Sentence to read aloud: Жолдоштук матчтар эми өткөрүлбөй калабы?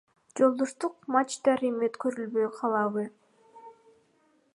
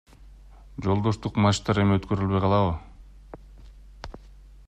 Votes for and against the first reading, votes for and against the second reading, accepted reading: 1, 2, 2, 0, second